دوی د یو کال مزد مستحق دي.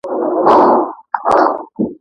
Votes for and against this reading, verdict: 1, 2, rejected